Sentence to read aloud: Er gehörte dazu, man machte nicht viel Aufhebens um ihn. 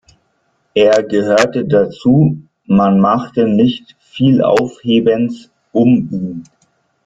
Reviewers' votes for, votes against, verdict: 1, 2, rejected